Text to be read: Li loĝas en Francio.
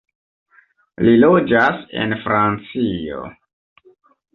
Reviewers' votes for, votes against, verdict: 1, 2, rejected